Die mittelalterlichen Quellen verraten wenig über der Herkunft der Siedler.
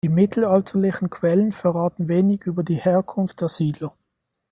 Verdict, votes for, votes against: rejected, 1, 2